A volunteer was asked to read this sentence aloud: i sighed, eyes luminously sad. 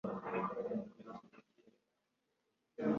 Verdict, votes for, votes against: rejected, 0, 2